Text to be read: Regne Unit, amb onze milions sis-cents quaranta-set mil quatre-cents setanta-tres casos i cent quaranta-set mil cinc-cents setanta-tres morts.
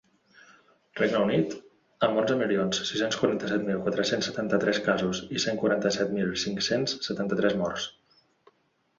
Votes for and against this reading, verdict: 2, 0, accepted